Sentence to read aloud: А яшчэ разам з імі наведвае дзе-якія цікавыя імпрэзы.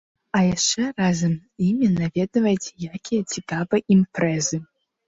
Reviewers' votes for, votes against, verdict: 1, 2, rejected